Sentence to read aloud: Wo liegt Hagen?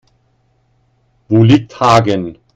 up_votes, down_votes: 2, 0